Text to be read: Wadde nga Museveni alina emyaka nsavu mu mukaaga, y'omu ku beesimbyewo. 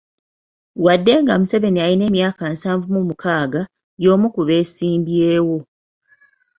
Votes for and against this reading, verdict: 2, 0, accepted